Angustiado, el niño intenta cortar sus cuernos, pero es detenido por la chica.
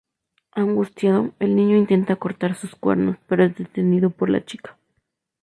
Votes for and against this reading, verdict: 0, 2, rejected